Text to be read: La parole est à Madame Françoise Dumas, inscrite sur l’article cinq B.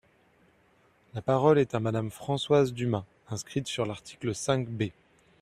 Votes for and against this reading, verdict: 2, 0, accepted